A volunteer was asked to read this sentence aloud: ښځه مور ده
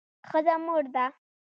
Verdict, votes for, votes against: accepted, 2, 0